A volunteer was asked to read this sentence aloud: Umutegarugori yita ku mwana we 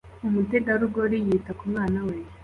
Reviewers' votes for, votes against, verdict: 2, 0, accepted